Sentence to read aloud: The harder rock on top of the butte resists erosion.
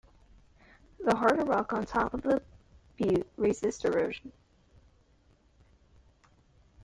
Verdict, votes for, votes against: rejected, 0, 2